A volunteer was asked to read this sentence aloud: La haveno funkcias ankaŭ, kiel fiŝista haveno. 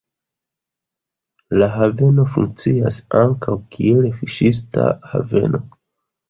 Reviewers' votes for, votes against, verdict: 2, 0, accepted